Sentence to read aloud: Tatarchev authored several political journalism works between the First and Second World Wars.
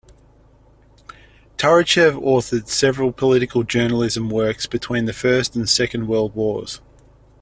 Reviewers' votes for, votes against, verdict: 1, 2, rejected